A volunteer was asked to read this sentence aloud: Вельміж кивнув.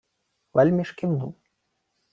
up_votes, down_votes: 2, 1